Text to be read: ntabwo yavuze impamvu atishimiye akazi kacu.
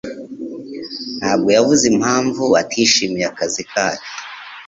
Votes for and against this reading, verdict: 2, 0, accepted